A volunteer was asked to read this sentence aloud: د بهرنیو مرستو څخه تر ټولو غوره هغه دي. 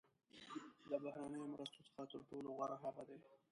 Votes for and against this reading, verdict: 0, 2, rejected